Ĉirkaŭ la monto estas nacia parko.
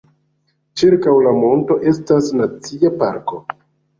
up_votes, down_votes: 2, 0